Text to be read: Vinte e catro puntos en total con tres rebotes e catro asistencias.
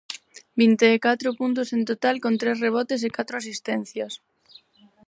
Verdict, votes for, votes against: accepted, 4, 0